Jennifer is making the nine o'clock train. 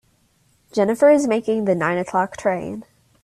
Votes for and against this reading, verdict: 2, 0, accepted